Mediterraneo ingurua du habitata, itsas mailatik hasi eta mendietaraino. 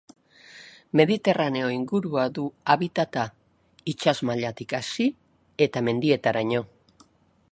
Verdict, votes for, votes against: accepted, 5, 0